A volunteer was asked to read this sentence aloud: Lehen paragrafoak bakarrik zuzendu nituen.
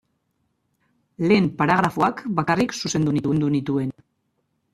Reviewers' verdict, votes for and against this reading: rejected, 1, 2